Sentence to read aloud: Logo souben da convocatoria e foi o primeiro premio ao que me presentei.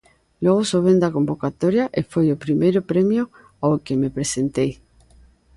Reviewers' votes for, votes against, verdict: 2, 0, accepted